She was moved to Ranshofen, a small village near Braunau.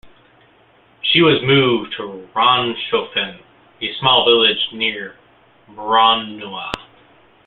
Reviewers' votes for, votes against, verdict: 2, 0, accepted